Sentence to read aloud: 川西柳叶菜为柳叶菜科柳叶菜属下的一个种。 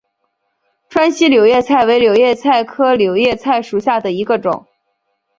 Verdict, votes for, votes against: accepted, 5, 0